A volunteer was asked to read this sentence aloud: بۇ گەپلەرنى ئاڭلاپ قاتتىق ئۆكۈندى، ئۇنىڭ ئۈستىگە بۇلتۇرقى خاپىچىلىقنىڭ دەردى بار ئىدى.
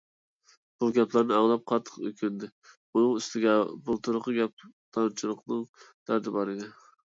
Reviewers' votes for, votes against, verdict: 0, 2, rejected